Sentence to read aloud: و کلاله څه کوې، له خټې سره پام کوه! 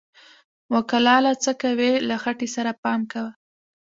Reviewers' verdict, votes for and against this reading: rejected, 0, 2